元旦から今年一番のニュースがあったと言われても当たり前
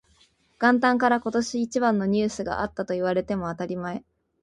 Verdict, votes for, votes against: accepted, 2, 0